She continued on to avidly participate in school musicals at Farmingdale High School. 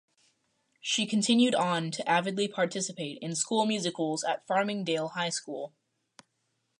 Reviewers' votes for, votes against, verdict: 4, 0, accepted